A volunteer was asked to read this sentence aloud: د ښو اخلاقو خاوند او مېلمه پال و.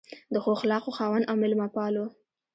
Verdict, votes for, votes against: rejected, 0, 2